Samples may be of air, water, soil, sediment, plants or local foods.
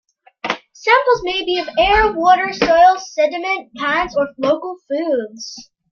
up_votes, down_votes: 2, 0